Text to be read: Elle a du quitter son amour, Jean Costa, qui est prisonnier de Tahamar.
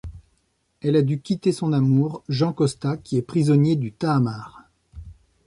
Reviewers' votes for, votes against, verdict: 1, 2, rejected